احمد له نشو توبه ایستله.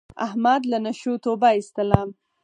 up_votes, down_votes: 4, 0